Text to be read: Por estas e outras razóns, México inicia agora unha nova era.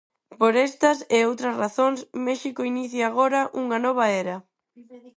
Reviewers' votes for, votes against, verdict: 0, 4, rejected